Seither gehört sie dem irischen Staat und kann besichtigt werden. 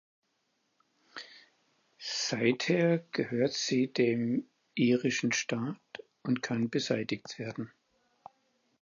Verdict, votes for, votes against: rejected, 0, 4